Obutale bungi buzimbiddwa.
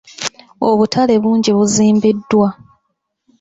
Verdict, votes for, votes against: rejected, 0, 2